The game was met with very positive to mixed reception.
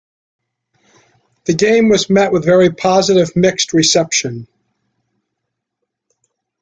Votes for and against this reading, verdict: 2, 0, accepted